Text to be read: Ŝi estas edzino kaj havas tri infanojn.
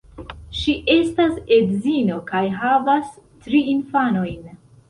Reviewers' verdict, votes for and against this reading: accepted, 2, 0